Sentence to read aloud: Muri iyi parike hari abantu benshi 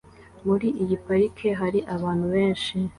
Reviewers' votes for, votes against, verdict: 2, 0, accepted